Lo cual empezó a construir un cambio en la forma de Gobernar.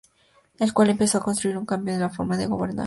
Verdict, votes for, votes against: rejected, 0, 2